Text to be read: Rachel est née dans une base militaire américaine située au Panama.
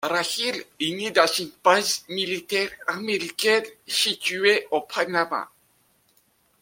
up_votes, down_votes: 2, 1